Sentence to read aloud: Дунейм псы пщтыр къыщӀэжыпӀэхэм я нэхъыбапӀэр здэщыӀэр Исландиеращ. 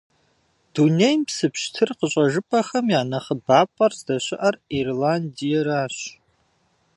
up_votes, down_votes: 1, 2